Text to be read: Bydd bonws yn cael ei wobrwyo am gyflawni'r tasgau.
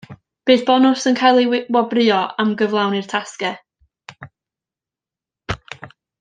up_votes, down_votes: 0, 2